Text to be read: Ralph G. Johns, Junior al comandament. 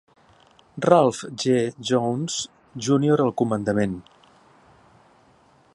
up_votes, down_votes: 2, 0